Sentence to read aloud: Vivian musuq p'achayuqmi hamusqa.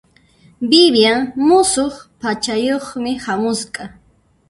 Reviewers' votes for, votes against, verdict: 0, 2, rejected